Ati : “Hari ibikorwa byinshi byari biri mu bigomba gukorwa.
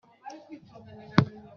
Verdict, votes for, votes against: rejected, 0, 2